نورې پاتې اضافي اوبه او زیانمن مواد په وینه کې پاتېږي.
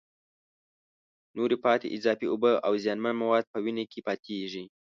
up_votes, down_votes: 2, 0